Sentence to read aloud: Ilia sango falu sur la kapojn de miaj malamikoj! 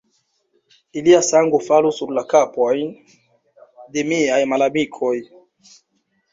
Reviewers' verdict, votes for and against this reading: rejected, 1, 2